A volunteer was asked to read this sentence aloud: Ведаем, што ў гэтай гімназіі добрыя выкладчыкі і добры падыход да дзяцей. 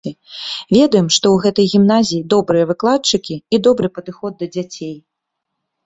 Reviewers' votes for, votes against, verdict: 2, 0, accepted